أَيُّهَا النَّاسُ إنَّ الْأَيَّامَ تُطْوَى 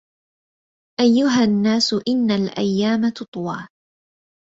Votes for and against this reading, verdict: 2, 0, accepted